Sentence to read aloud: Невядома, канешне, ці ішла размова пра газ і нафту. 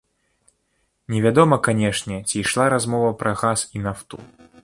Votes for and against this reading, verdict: 1, 2, rejected